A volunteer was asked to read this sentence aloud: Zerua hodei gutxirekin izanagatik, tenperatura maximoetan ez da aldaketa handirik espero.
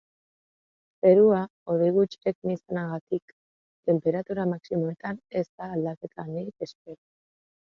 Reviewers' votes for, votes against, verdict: 3, 2, accepted